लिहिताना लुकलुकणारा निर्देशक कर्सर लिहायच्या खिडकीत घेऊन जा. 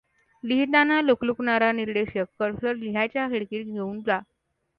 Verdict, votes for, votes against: accepted, 2, 0